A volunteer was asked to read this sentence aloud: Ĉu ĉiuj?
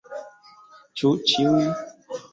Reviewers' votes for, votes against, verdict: 2, 0, accepted